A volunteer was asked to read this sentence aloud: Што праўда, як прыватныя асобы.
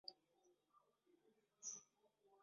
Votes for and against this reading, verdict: 0, 2, rejected